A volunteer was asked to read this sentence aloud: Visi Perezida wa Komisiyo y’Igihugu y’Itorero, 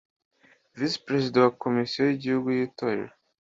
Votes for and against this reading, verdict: 2, 0, accepted